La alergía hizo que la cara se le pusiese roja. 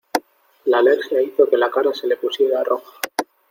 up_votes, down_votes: 0, 2